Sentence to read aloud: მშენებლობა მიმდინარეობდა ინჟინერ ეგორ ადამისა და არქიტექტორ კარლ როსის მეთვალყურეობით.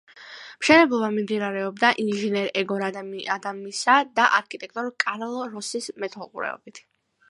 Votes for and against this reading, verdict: 2, 1, accepted